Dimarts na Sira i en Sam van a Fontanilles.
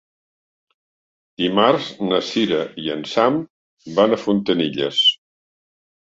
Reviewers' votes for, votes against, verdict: 3, 0, accepted